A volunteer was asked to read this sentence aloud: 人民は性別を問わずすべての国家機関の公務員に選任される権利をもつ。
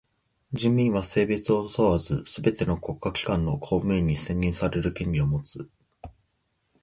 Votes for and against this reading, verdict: 2, 0, accepted